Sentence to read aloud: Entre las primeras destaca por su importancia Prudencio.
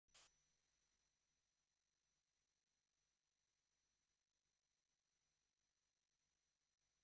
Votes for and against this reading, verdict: 0, 2, rejected